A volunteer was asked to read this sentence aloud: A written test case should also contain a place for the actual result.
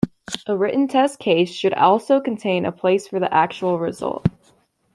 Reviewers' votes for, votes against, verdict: 1, 2, rejected